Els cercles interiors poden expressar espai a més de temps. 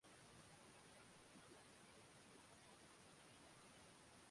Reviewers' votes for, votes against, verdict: 1, 2, rejected